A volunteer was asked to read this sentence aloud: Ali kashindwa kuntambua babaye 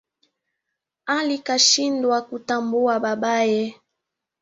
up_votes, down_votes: 2, 0